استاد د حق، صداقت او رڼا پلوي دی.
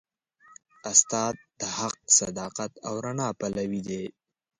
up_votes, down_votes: 0, 2